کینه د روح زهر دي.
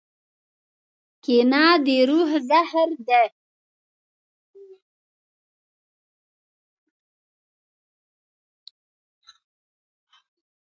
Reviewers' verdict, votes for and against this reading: rejected, 1, 2